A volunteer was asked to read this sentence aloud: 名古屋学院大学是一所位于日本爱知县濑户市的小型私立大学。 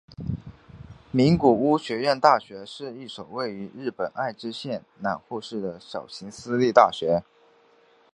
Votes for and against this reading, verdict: 3, 1, accepted